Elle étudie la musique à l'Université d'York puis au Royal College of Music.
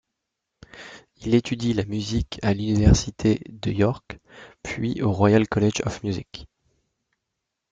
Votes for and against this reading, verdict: 0, 2, rejected